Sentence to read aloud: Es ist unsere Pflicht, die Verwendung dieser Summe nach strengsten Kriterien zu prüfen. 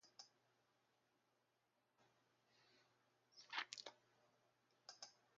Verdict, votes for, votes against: rejected, 0, 2